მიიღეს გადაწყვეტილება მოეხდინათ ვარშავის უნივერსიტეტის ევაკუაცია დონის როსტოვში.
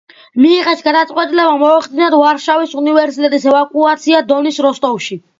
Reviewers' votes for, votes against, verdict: 2, 0, accepted